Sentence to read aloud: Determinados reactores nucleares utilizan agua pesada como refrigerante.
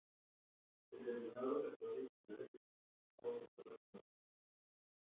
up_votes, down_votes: 0, 2